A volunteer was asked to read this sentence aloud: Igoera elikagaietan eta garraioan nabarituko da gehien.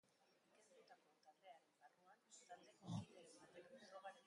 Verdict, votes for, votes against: rejected, 0, 2